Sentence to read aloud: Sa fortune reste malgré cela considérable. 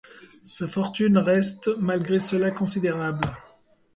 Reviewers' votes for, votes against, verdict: 2, 0, accepted